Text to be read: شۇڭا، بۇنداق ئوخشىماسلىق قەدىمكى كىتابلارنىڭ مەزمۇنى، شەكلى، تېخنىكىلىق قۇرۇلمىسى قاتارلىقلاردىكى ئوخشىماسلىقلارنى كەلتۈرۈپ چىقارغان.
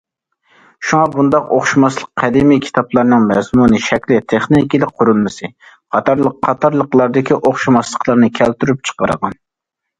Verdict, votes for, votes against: rejected, 0, 2